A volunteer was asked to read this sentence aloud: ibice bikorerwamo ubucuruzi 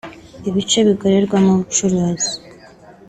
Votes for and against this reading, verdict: 2, 0, accepted